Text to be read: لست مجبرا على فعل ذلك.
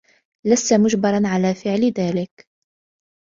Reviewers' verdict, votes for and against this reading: accepted, 2, 0